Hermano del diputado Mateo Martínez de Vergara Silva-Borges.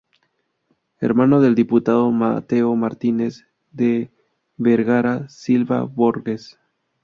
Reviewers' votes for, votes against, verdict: 0, 2, rejected